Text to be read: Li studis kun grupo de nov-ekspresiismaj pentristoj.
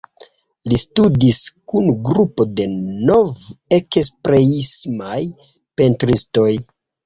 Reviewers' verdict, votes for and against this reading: accepted, 2, 0